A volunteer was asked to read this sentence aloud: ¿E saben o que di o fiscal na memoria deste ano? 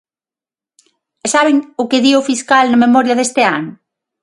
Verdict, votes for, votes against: accepted, 9, 0